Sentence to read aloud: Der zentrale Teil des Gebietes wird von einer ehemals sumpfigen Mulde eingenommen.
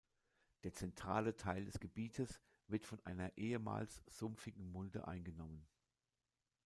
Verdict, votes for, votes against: accepted, 2, 0